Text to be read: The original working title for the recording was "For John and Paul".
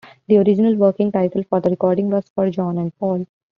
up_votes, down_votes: 0, 2